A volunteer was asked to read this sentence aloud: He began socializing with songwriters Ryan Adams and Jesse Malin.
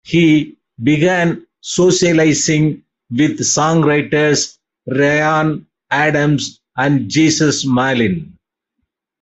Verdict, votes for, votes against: rejected, 1, 2